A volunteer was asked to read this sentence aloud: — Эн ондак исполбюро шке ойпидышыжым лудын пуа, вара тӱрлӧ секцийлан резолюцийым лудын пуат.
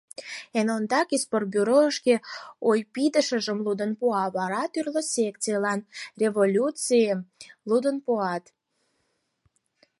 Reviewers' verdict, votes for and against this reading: rejected, 0, 4